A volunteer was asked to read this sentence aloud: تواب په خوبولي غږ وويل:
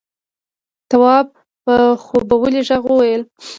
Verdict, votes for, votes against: accepted, 2, 0